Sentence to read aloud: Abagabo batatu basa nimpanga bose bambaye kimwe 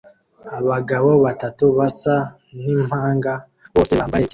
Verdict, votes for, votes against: rejected, 0, 2